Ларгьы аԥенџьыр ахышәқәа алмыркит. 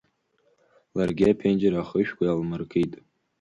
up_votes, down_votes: 5, 2